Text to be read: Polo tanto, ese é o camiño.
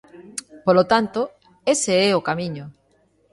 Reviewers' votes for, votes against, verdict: 2, 0, accepted